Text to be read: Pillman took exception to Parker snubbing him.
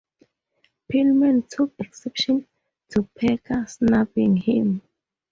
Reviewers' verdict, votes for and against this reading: accepted, 2, 0